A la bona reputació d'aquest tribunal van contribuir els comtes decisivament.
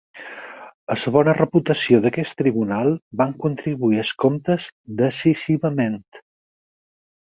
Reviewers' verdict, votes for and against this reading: rejected, 2, 6